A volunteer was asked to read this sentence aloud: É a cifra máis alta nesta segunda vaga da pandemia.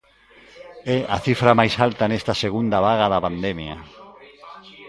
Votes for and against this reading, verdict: 2, 0, accepted